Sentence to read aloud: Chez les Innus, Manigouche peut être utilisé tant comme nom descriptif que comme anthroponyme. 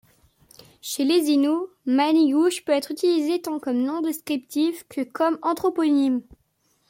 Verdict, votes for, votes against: rejected, 0, 2